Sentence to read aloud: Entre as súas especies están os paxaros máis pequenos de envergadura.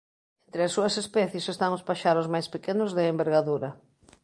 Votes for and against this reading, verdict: 1, 3, rejected